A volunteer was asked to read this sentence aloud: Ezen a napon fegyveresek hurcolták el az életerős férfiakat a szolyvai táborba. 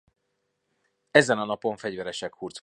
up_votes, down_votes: 0, 2